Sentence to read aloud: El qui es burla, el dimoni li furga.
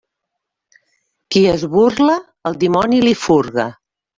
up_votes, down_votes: 0, 2